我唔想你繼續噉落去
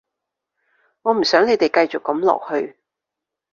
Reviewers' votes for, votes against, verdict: 0, 2, rejected